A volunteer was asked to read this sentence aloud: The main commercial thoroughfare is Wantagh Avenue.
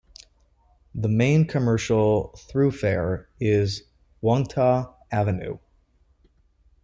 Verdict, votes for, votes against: rejected, 0, 2